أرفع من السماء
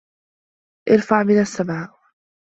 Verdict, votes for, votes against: accepted, 2, 1